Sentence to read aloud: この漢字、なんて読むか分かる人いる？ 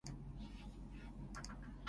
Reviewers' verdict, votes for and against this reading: rejected, 0, 2